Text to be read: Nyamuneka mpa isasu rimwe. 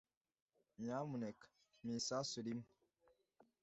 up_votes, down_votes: 2, 0